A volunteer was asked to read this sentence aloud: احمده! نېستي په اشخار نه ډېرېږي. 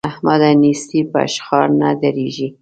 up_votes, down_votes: 2, 0